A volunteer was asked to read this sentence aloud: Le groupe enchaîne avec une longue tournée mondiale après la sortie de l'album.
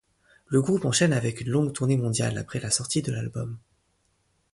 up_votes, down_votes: 2, 0